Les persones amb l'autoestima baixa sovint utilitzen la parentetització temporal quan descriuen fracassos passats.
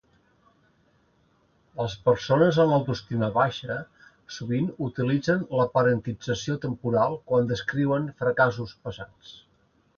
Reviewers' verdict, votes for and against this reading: rejected, 0, 2